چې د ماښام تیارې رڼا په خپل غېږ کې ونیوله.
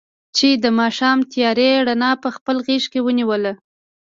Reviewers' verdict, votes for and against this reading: accepted, 2, 0